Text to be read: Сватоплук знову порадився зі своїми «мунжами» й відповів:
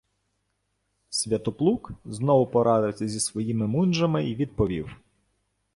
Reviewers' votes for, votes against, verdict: 1, 2, rejected